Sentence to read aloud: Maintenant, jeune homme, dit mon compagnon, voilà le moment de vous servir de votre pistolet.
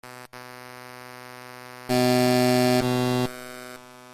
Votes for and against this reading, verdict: 0, 2, rejected